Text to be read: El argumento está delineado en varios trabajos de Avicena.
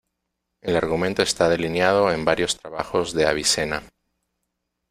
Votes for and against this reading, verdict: 2, 0, accepted